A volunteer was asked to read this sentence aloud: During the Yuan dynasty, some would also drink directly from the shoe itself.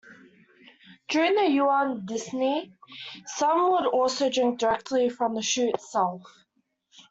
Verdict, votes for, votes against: rejected, 0, 2